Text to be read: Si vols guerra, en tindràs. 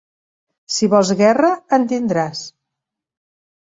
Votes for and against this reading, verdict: 2, 0, accepted